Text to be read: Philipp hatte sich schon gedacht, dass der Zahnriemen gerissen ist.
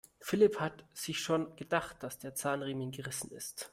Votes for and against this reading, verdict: 1, 2, rejected